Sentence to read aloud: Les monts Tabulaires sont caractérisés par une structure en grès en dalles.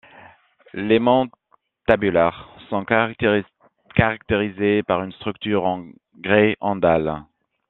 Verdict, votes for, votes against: rejected, 1, 2